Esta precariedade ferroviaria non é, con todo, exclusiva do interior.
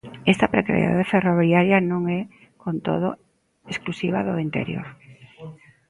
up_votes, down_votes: 1, 2